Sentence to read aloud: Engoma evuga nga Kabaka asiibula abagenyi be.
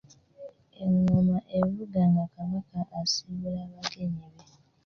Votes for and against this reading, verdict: 0, 2, rejected